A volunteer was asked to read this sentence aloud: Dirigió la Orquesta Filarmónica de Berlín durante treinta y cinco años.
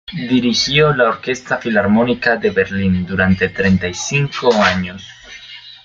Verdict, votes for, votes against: rejected, 1, 2